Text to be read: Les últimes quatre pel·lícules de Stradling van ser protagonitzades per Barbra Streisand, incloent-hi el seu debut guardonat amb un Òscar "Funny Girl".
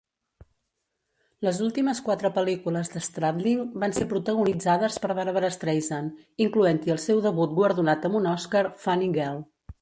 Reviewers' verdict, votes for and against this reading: rejected, 1, 2